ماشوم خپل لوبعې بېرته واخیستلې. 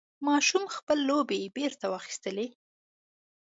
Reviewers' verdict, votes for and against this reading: accepted, 2, 0